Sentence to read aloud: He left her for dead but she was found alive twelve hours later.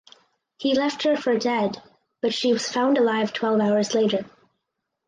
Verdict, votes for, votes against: accepted, 4, 0